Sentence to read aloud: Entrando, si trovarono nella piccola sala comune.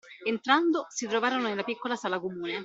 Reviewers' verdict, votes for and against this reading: accepted, 2, 0